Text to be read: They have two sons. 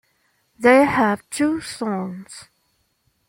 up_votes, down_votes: 2, 0